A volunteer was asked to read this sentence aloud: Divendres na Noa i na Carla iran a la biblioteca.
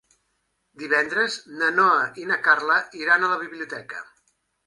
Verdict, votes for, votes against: accepted, 3, 0